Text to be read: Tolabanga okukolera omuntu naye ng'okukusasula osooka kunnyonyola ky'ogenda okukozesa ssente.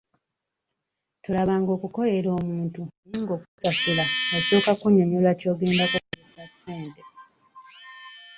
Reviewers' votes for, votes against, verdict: 0, 2, rejected